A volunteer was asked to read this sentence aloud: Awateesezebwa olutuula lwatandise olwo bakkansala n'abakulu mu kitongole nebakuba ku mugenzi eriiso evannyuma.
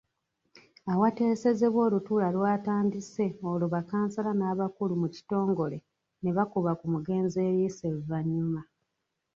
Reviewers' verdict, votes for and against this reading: accepted, 3, 0